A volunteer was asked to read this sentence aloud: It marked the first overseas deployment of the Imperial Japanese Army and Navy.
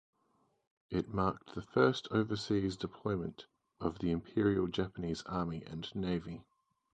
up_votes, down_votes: 4, 0